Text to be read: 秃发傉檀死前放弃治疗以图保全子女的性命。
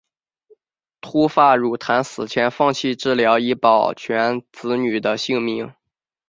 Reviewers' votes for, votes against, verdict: 2, 0, accepted